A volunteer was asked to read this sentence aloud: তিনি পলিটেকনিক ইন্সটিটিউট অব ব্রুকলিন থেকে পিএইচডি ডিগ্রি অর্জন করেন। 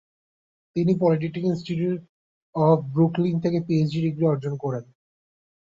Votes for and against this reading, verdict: 1, 2, rejected